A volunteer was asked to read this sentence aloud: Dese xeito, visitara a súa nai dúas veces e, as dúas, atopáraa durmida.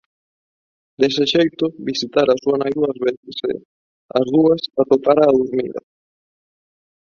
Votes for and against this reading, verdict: 2, 3, rejected